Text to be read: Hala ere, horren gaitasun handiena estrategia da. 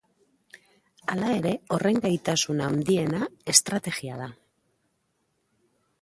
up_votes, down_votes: 0, 2